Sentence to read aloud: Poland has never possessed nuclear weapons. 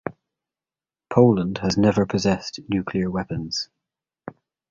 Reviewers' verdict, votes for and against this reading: accepted, 2, 0